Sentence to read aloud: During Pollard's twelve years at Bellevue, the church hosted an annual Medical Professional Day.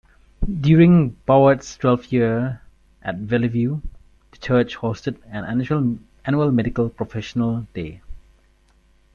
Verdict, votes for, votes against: rejected, 0, 4